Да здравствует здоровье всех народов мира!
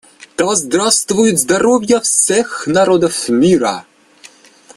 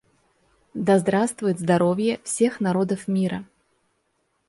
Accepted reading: second